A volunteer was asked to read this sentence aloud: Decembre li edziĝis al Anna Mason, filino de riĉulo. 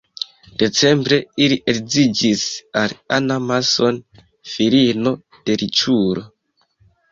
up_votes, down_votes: 2, 1